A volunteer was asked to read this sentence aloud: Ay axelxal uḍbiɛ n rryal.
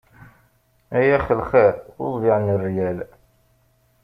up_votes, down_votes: 1, 2